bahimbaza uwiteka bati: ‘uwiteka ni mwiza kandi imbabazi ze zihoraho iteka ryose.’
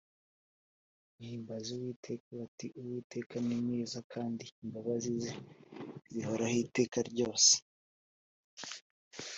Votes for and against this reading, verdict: 4, 0, accepted